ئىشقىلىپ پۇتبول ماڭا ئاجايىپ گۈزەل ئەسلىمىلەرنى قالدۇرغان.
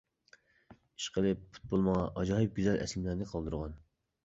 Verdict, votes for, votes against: accepted, 2, 0